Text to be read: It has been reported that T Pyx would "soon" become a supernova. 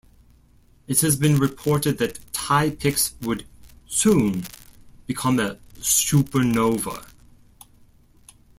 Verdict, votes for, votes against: rejected, 0, 2